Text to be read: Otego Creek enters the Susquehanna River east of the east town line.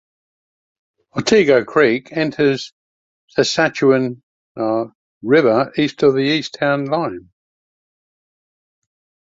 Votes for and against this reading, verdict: 1, 2, rejected